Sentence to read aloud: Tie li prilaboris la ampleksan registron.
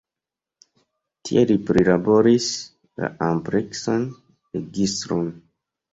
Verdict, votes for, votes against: rejected, 1, 4